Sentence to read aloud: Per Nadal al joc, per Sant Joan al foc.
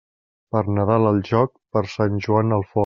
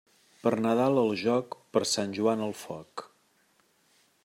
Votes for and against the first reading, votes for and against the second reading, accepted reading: 1, 2, 2, 1, second